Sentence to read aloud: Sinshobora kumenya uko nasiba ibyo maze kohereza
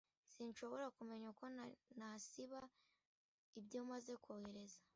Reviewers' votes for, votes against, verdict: 0, 2, rejected